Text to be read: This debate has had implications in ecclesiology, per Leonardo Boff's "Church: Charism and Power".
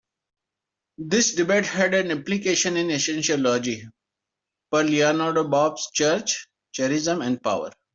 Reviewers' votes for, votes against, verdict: 0, 2, rejected